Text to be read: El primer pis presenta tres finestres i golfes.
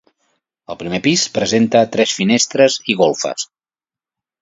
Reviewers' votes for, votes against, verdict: 2, 0, accepted